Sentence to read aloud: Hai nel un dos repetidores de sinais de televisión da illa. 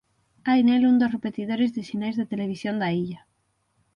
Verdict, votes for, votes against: accepted, 6, 0